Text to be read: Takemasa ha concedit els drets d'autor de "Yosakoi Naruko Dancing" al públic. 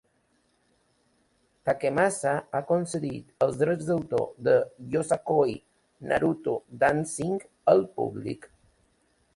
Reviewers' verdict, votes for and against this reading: accepted, 2, 1